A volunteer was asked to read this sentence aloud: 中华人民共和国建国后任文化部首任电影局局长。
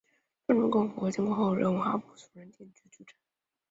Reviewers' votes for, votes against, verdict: 0, 2, rejected